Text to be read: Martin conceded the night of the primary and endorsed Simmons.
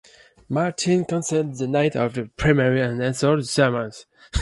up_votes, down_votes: 0, 2